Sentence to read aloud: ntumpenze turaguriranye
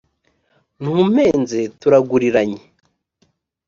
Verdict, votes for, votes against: accepted, 4, 0